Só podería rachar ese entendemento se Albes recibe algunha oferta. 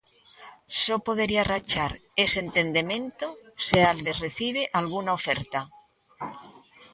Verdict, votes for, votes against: rejected, 1, 2